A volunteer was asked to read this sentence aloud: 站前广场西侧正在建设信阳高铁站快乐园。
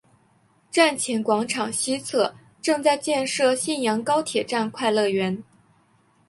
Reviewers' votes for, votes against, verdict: 2, 0, accepted